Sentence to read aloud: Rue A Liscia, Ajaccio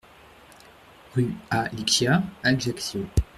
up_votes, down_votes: 0, 2